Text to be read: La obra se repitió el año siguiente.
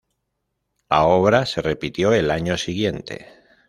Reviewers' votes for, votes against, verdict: 0, 2, rejected